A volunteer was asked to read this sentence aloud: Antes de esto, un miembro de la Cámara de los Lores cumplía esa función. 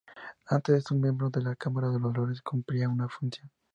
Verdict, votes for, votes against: rejected, 0, 4